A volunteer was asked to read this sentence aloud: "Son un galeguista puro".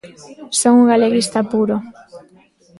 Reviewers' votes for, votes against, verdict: 1, 2, rejected